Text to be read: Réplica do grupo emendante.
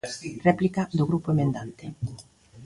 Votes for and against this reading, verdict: 2, 1, accepted